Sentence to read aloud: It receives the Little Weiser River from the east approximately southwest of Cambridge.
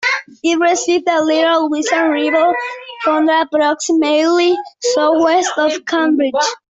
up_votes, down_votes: 0, 2